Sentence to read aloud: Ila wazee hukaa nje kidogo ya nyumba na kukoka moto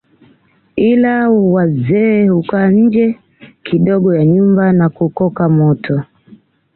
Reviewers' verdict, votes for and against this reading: accepted, 2, 0